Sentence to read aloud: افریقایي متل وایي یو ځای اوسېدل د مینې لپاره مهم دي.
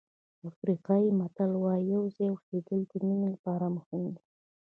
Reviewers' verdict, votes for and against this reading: accepted, 2, 1